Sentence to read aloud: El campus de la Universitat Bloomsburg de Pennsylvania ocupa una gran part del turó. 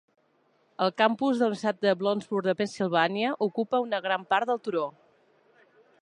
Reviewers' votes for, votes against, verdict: 1, 2, rejected